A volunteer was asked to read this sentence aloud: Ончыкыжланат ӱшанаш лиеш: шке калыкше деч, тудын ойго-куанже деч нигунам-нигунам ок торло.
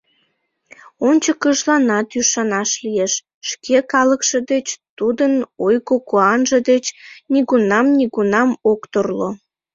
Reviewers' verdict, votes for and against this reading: accepted, 2, 0